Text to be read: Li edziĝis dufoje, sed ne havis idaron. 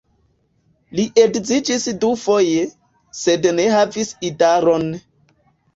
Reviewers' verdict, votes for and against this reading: rejected, 1, 2